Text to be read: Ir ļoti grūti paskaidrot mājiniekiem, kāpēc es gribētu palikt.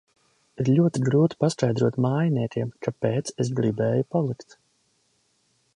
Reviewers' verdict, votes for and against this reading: rejected, 0, 2